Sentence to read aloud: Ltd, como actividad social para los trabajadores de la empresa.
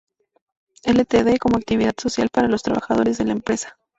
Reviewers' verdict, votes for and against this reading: accepted, 2, 0